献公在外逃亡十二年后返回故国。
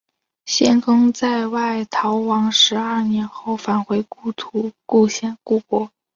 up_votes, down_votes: 1, 2